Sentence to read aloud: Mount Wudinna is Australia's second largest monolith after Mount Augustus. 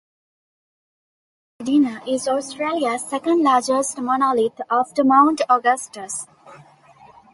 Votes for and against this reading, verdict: 0, 2, rejected